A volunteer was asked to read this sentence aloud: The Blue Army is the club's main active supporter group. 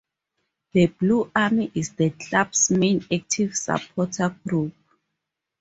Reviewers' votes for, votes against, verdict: 2, 0, accepted